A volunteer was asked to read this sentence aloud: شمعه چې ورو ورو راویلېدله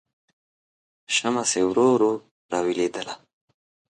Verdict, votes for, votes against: accepted, 2, 0